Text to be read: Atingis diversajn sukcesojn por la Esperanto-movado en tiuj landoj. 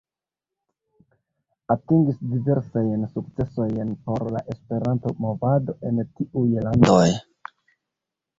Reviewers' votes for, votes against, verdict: 0, 2, rejected